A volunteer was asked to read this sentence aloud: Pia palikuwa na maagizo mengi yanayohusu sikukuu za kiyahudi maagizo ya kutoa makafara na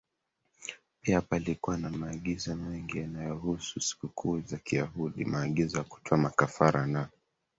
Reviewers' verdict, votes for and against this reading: accepted, 2, 1